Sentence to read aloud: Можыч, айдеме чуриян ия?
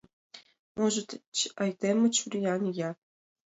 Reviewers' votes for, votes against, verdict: 2, 0, accepted